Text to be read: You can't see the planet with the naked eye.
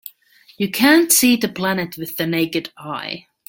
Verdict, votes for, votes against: accepted, 2, 0